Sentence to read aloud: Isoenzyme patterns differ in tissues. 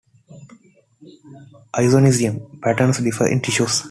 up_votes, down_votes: 0, 2